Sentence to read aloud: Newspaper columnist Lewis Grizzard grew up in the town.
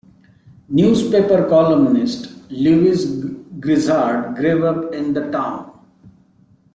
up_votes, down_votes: 2, 0